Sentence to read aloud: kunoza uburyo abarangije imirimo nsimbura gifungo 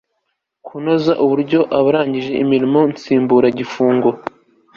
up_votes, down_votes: 2, 0